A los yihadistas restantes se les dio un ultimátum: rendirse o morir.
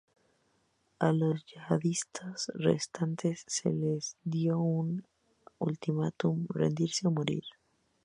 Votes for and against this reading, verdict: 2, 2, rejected